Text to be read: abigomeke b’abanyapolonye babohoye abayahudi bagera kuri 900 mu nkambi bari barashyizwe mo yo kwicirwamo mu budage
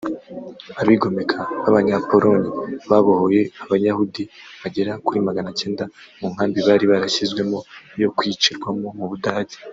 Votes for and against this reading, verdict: 0, 2, rejected